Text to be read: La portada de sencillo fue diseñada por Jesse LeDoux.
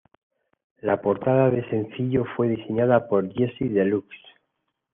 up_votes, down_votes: 0, 2